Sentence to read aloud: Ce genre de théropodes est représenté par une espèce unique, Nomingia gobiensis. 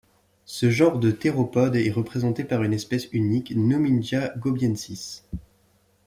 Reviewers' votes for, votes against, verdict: 2, 0, accepted